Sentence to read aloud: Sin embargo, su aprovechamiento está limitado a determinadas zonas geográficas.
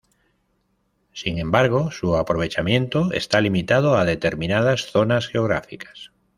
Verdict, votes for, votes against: accepted, 2, 0